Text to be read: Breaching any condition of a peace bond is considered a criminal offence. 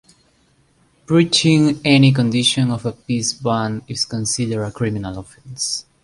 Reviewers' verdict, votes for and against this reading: accepted, 2, 0